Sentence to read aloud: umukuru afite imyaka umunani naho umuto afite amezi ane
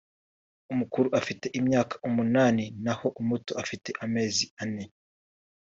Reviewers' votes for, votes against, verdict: 2, 0, accepted